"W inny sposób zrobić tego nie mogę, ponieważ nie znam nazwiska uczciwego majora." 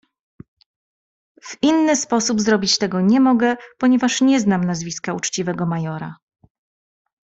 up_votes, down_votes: 2, 0